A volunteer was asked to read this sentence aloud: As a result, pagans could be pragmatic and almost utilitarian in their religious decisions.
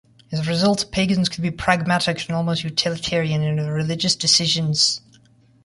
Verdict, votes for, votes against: rejected, 0, 2